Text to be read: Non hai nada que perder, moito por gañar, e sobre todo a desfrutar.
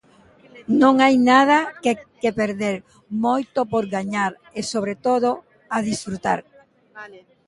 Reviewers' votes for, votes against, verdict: 2, 0, accepted